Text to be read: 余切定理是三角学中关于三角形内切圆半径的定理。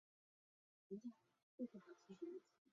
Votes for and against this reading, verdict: 0, 3, rejected